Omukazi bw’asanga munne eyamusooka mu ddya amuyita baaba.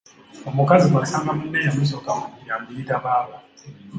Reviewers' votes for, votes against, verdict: 3, 1, accepted